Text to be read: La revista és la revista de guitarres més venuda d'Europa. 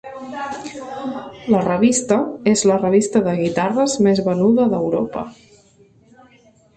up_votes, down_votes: 1, 2